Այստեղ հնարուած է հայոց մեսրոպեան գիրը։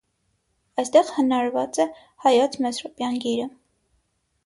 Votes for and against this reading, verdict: 3, 3, rejected